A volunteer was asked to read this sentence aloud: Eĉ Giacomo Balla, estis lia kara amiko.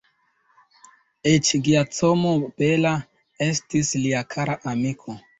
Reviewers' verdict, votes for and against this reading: rejected, 0, 2